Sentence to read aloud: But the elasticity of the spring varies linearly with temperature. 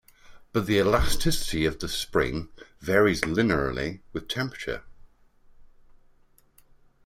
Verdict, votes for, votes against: accepted, 2, 0